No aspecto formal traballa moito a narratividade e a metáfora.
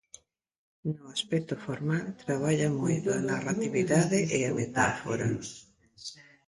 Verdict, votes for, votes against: rejected, 0, 2